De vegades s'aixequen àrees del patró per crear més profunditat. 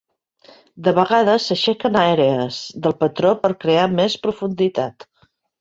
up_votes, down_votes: 1, 2